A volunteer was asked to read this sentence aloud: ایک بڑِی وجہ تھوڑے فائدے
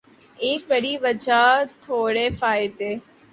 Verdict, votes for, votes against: accepted, 2, 0